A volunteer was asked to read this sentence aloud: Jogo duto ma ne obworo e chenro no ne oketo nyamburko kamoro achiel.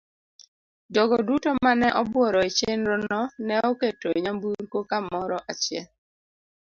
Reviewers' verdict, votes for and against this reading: accepted, 2, 0